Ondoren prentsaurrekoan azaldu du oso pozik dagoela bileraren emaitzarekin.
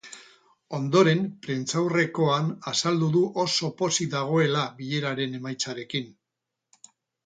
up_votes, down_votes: 0, 2